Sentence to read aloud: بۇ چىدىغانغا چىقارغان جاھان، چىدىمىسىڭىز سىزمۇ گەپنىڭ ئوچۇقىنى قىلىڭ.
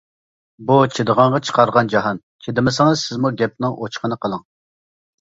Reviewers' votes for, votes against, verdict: 2, 0, accepted